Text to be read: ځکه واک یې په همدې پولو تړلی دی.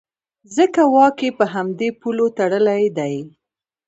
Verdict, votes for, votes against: rejected, 0, 2